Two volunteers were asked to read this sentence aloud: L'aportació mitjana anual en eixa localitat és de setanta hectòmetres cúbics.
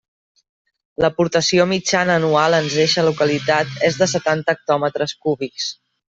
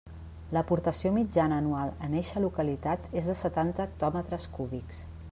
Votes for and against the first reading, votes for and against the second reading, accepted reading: 0, 2, 2, 0, second